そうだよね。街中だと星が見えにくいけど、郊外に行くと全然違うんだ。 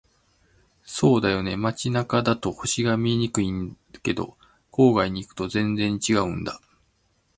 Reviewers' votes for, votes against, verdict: 2, 0, accepted